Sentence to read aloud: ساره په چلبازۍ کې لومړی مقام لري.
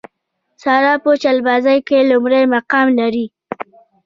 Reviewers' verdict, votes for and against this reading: rejected, 1, 2